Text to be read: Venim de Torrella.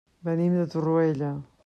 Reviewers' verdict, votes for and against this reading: rejected, 1, 2